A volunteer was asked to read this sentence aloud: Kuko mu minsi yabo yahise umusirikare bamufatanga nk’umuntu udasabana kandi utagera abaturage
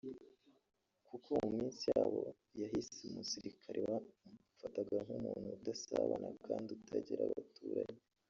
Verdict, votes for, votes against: rejected, 0, 2